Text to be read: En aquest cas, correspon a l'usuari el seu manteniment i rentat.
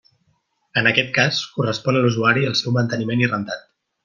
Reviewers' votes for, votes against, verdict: 3, 0, accepted